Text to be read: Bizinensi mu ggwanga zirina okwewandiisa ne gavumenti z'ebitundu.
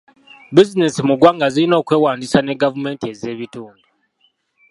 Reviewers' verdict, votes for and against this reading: accepted, 2, 0